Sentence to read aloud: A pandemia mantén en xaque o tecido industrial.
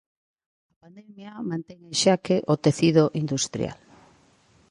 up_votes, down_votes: 1, 2